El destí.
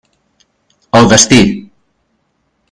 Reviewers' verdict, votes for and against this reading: accepted, 2, 0